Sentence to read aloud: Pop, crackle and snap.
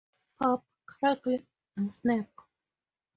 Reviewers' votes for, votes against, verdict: 2, 0, accepted